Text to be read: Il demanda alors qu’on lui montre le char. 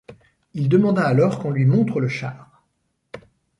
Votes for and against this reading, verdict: 2, 0, accepted